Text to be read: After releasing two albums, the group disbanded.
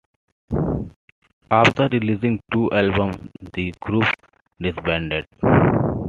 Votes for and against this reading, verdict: 2, 0, accepted